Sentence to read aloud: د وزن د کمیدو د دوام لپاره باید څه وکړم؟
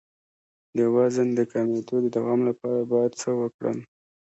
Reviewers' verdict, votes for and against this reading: accepted, 2, 1